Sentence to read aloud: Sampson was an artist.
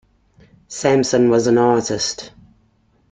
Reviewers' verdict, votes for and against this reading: accepted, 2, 0